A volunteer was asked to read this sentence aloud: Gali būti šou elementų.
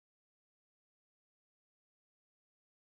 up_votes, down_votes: 1, 2